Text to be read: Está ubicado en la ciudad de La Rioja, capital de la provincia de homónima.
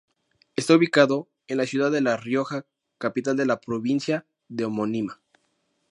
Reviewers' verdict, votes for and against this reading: accepted, 2, 0